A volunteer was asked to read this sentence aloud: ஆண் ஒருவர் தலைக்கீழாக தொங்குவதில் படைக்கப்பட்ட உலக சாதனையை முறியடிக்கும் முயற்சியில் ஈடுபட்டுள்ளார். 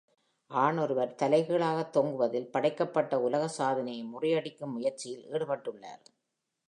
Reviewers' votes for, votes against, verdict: 2, 0, accepted